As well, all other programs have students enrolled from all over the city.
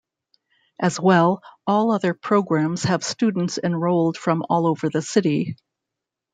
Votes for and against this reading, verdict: 2, 0, accepted